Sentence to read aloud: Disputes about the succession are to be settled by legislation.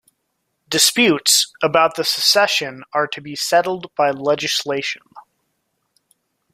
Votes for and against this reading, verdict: 1, 2, rejected